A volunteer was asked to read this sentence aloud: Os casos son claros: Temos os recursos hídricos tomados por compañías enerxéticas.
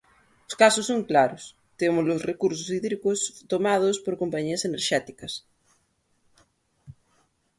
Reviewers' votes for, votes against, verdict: 1, 2, rejected